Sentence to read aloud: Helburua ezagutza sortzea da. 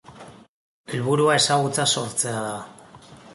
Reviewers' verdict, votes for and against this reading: accepted, 2, 0